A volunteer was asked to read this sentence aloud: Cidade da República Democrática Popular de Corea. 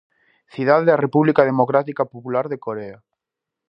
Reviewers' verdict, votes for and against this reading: accepted, 2, 0